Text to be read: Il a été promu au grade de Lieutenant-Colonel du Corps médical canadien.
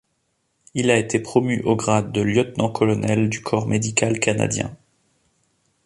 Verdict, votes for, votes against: accepted, 2, 0